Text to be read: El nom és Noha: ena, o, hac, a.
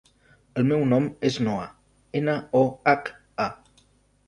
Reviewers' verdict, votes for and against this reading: rejected, 0, 2